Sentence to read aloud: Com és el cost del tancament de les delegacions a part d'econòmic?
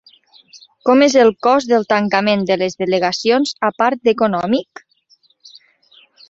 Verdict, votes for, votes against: accepted, 2, 0